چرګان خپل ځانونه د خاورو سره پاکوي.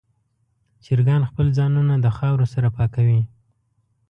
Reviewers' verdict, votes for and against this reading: accepted, 2, 0